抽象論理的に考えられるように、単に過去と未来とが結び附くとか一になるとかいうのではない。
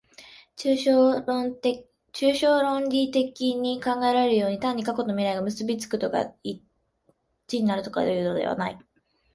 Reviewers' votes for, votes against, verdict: 2, 3, rejected